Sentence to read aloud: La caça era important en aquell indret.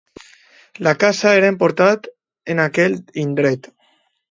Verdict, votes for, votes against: rejected, 1, 2